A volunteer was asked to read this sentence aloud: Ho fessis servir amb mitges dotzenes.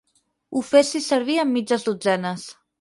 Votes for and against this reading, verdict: 4, 0, accepted